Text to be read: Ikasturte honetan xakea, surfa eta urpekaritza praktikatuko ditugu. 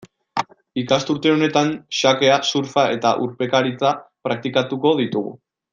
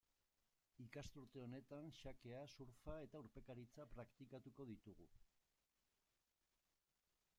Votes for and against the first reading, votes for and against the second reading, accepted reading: 2, 0, 0, 2, first